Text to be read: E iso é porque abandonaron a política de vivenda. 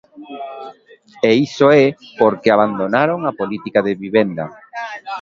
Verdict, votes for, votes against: rejected, 1, 2